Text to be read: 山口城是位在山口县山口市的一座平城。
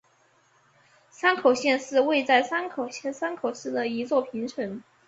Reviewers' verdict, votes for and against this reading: rejected, 1, 2